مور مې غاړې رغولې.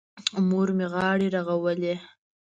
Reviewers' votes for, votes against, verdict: 2, 0, accepted